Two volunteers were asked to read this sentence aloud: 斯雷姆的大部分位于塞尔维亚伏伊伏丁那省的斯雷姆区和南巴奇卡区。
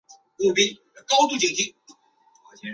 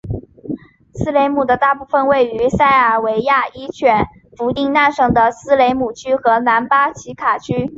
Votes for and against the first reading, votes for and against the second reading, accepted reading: 0, 2, 4, 2, second